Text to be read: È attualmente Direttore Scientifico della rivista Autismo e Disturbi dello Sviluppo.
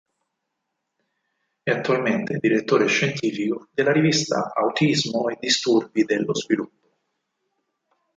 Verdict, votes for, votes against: rejected, 2, 4